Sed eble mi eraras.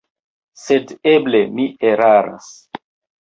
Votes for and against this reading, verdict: 2, 0, accepted